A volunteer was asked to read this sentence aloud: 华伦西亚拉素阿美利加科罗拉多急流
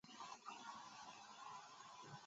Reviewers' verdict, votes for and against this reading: rejected, 0, 2